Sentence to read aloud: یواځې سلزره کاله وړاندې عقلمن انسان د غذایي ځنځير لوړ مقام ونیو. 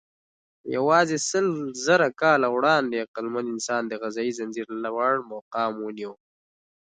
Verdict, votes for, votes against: accepted, 2, 0